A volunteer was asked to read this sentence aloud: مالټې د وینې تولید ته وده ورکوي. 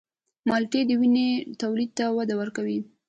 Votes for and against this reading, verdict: 2, 0, accepted